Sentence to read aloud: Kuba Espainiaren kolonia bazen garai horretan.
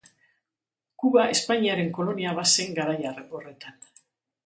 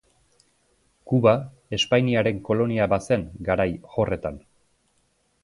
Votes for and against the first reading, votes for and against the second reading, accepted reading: 1, 2, 3, 0, second